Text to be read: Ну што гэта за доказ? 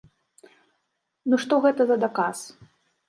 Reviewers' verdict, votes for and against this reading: rejected, 0, 2